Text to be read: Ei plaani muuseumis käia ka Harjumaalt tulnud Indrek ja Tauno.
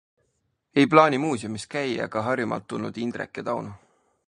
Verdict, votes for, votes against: accepted, 2, 0